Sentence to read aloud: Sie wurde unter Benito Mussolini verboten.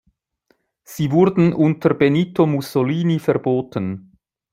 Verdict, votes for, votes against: rejected, 0, 2